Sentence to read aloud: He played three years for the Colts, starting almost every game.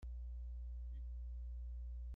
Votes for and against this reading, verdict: 0, 2, rejected